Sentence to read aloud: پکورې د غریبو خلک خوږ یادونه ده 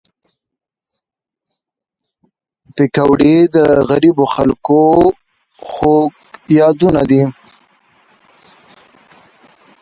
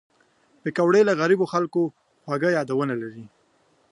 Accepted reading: second